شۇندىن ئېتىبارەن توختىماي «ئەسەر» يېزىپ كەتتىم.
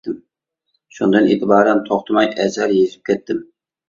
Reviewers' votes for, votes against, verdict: 1, 2, rejected